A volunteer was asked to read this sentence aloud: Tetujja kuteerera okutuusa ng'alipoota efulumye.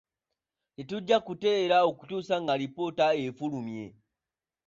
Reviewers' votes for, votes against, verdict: 2, 1, accepted